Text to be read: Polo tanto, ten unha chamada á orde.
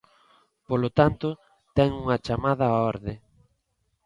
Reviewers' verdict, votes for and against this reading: accepted, 2, 0